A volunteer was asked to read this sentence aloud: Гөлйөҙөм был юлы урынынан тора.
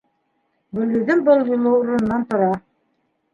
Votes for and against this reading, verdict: 2, 1, accepted